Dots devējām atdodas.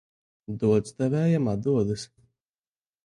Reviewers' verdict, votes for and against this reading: accepted, 2, 1